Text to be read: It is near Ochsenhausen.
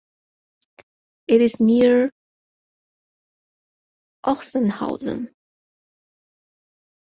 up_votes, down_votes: 4, 0